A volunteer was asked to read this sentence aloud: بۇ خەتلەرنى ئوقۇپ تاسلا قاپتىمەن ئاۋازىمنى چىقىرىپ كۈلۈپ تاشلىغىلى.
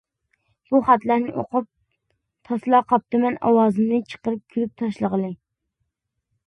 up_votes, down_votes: 2, 0